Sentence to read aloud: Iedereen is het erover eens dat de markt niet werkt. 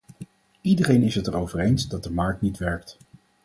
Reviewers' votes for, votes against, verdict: 4, 0, accepted